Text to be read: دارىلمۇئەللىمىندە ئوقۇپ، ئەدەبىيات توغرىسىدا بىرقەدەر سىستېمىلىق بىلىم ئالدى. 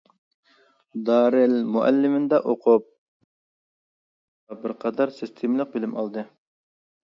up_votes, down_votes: 0, 2